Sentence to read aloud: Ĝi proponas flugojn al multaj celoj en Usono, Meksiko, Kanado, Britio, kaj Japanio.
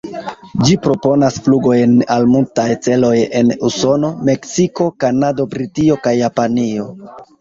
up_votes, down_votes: 1, 2